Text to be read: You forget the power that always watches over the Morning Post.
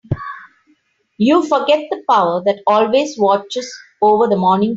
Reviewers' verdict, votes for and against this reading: rejected, 0, 2